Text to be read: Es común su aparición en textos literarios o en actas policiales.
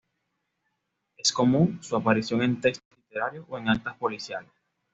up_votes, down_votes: 2, 1